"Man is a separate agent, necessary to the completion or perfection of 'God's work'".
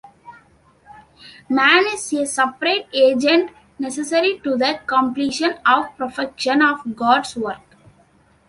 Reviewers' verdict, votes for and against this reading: accepted, 2, 1